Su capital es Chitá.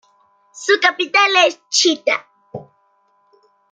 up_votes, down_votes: 0, 2